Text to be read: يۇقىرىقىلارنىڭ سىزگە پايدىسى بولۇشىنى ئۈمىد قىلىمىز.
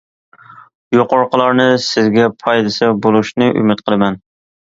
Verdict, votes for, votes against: rejected, 0, 2